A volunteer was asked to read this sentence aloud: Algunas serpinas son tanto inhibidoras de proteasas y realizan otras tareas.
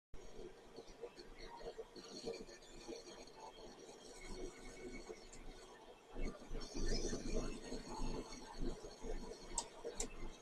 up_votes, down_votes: 1, 2